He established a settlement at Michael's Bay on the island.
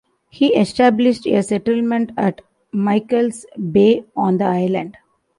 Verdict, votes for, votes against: accepted, 2, 0